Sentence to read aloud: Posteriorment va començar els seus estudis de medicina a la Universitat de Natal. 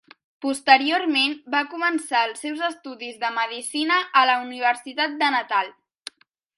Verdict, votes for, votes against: accepted, 2, 0